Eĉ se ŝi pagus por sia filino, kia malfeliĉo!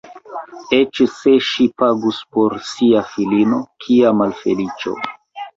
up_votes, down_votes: 1, 2